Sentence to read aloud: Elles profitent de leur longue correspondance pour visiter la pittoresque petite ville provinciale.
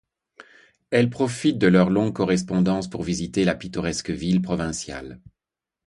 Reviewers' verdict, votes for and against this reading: rejected, 0, 2